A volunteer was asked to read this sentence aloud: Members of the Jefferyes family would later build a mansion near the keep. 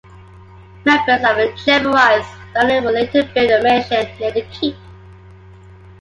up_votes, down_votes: 0, 2